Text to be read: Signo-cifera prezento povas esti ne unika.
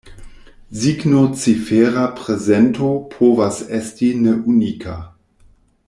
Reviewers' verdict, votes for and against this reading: rejected, 0, 2